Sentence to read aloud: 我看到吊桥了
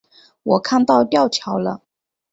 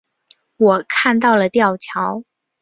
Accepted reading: first